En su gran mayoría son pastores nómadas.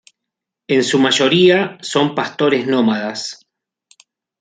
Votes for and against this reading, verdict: 2, 3, rejected